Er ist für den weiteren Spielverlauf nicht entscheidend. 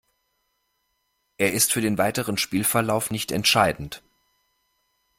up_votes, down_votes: 2, 0